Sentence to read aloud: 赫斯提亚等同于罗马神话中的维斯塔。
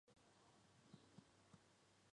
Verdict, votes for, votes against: rejected, 0, 4